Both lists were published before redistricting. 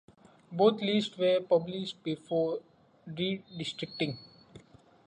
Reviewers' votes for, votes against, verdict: 0, 2, rejected